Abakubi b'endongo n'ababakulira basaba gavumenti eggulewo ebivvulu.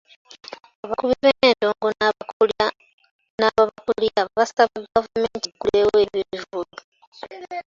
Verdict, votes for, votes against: rejected, 1, 2